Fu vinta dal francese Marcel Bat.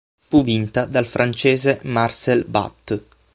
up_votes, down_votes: 9, 0